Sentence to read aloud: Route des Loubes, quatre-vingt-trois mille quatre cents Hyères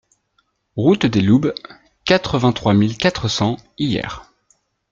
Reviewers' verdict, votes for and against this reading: rejected, 0, 2